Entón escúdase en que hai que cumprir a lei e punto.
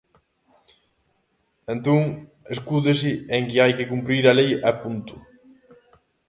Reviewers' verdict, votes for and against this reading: accepted, 2, 0